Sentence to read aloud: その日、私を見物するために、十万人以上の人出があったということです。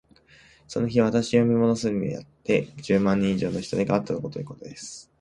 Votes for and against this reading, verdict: 0, 2, rejected